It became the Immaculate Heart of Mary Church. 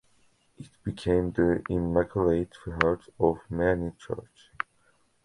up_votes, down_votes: 0, 2